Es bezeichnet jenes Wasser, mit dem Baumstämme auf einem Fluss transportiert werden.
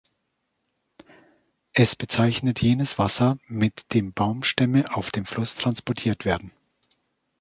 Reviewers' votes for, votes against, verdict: 0, 2, rejected